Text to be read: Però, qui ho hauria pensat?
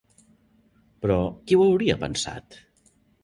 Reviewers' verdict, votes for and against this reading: accepted, 3, 0